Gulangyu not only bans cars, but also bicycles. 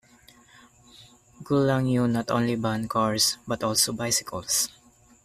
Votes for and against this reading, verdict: 0, 2, rejected